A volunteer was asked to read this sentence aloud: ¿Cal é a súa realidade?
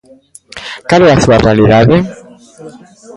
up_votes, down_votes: 0, 2